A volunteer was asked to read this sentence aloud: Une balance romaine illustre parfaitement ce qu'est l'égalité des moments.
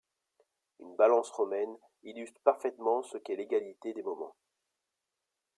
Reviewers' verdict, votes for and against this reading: rejected, 1, 2